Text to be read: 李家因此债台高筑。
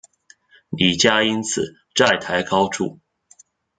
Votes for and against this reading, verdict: 2, 0, accepted